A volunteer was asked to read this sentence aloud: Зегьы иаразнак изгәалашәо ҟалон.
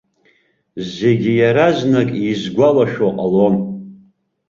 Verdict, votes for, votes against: accepted, 2, 0